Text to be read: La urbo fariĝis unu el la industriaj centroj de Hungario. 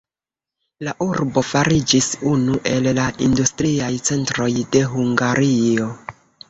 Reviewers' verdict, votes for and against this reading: accepted, 2, 0